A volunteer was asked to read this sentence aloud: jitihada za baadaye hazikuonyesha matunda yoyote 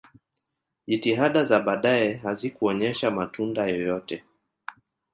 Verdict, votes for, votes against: rejected, 1, 2